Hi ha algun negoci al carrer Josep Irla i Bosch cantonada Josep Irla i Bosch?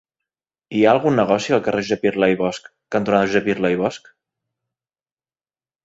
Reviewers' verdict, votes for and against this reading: rejected, 0, 2